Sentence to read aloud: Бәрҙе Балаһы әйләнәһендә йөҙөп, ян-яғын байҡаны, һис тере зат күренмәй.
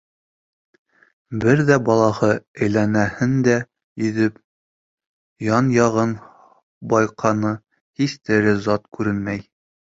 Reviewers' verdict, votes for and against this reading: rejected, 0, 2